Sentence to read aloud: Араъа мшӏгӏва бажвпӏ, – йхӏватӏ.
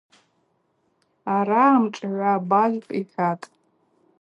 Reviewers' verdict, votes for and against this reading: accepted, 2, 0